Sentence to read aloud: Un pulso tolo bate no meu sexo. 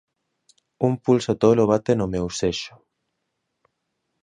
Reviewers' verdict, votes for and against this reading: rejected, 0, 2